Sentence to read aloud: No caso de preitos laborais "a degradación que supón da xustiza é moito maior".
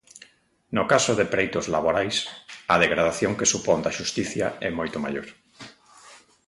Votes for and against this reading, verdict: 0, 2, rejected